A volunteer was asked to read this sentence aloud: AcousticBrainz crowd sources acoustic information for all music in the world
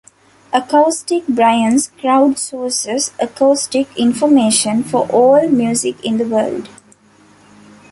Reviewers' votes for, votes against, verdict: 2, 1, accepted